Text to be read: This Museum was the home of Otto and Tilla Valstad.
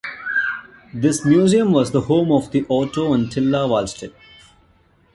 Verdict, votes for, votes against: rejected, 0, 2